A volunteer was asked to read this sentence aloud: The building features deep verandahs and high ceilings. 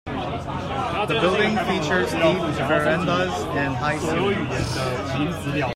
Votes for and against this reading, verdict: 0, 2, rejected